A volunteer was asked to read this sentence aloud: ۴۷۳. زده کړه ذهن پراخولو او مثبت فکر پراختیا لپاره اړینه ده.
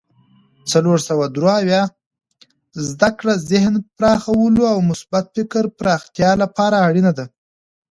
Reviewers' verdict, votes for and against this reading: rejected, 0, 2